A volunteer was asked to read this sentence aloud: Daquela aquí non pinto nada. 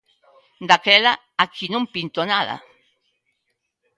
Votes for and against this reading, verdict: 2, 0, accepted